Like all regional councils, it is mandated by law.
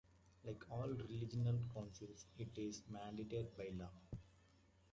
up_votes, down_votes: 0, 2